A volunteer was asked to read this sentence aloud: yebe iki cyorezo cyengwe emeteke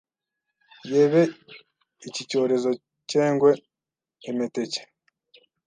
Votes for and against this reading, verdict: 1, 2, rejected